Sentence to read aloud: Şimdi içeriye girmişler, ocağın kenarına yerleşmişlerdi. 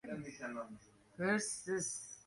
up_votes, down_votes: 0, 2